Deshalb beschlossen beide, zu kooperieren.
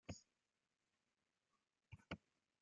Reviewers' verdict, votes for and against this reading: rejected, 0, 2